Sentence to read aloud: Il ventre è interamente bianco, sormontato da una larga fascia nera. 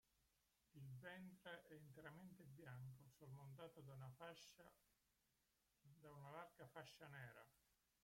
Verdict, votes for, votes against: rejected, 0, 2